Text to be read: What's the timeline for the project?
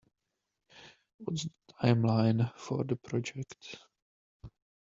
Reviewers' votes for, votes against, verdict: 0, 2, rejected